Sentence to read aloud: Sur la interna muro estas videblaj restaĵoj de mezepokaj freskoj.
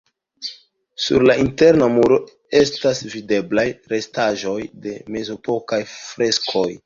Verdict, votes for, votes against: accepted, 2, 0